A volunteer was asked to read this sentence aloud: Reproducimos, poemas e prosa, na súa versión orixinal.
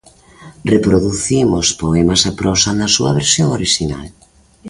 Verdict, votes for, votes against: accepted, 2, 0